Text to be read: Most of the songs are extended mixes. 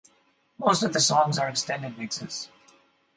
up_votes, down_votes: 4, 0